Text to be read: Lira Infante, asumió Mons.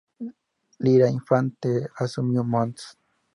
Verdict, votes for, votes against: accepted, 2, 0